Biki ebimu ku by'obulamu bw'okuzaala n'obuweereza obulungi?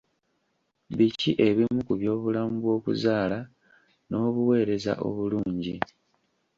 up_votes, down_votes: 2, 0